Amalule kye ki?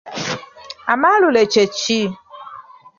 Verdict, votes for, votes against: rejected, 1, 3